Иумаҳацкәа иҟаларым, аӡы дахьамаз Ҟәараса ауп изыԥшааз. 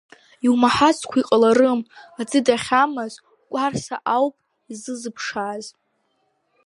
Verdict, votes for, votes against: rejected, 0, 2